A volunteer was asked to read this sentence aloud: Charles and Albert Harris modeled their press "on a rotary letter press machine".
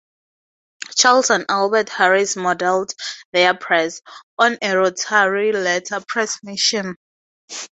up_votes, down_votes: 4, 0